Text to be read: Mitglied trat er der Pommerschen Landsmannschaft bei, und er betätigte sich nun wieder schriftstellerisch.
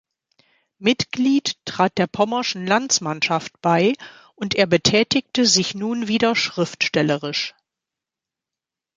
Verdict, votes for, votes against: rejected, 0, 2